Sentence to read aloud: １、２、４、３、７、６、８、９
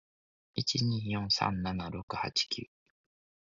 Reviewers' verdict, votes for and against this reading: rejected, 0, 2